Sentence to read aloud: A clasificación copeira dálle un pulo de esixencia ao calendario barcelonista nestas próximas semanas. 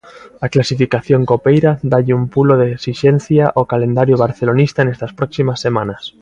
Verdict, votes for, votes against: accepted, 2, 0